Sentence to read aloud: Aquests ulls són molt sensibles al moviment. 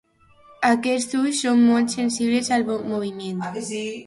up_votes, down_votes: 0, 2